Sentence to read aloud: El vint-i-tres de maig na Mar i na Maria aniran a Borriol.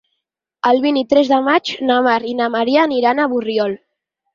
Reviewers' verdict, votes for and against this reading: accepted, 6, 0